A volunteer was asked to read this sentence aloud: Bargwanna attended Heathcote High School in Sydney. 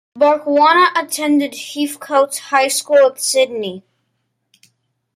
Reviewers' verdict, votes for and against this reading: rejected, 0, 2